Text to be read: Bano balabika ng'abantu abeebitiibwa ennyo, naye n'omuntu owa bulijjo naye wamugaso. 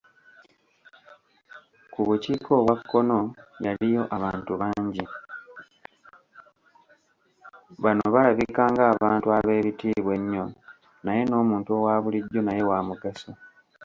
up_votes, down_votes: 1, 2